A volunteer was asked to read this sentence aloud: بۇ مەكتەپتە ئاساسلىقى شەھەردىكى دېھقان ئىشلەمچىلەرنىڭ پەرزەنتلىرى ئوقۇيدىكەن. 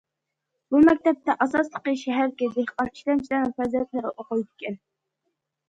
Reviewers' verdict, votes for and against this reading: accepted, 3, 2